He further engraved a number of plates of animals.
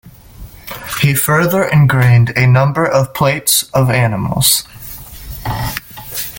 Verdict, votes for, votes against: rejected, 1, 2